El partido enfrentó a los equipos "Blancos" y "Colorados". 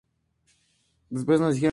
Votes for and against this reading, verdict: 0, 2, rejected